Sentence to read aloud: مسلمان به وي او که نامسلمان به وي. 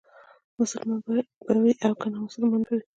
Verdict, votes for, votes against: rejected, 0, 2